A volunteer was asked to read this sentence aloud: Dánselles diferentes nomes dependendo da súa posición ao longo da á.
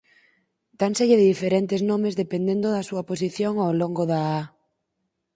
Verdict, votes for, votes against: accepted, 4, 0